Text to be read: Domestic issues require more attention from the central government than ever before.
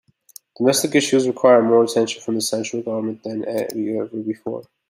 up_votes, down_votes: 0, 3